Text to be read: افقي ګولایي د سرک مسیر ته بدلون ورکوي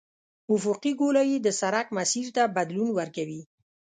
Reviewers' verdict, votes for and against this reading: accepted, 2, 0